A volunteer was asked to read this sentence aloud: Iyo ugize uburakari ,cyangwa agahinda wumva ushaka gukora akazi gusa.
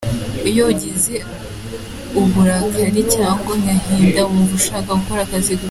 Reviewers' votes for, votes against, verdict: 4, 3, accepted